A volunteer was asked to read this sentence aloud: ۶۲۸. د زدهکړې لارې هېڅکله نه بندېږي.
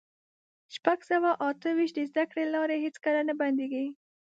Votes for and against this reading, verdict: 0, 2, rejected